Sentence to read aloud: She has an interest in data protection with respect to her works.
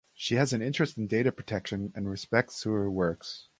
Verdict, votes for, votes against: rejected, 2, 4